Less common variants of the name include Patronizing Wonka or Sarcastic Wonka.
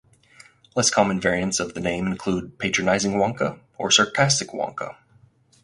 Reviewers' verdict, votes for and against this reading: accepted, 4, 0